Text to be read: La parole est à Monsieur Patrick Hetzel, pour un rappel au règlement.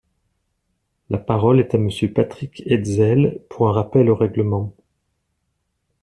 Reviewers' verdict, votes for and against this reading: accepted, 2, 0